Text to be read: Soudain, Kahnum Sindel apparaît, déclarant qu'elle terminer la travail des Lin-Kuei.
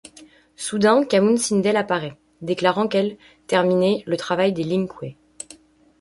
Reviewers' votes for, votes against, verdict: 0, 2, rejected